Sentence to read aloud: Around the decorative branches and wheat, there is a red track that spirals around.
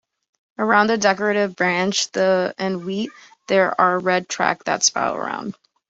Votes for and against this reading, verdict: 0, 2, rejected